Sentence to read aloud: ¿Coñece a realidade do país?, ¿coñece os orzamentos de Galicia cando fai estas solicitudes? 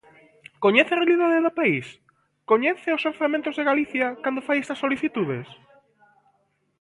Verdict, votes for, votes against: rejected, 1, 2